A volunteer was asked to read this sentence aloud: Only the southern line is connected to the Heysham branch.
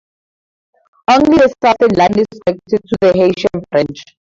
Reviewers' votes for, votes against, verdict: 0, 4, rejected